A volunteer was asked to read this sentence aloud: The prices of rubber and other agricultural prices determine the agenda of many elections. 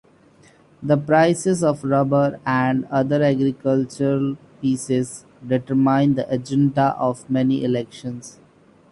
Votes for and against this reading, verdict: 1, 2, rejected